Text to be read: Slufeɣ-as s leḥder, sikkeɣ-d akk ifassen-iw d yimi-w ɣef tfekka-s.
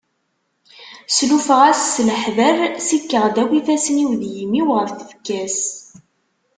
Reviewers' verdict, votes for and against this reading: accepted, 2, 0